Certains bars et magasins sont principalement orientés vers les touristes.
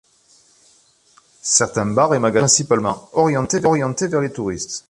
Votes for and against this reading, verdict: 0, 2, rejected